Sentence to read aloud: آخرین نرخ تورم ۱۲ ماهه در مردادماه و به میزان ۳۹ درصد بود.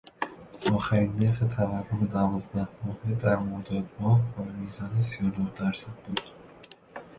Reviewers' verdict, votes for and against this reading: rejected, 0, 2